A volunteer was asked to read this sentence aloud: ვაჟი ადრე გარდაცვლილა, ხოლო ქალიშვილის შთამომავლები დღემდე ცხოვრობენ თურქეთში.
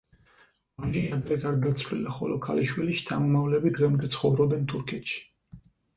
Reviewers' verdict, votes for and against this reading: rejected, 2, 4